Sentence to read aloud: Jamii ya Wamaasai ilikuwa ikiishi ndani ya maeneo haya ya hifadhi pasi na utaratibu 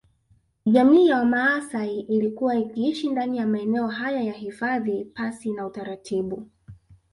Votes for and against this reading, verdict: 1, 2, rejected